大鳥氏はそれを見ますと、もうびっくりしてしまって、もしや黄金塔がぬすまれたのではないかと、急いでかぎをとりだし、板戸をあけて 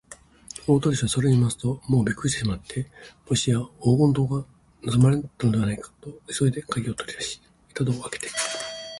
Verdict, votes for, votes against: rejected, 0, 2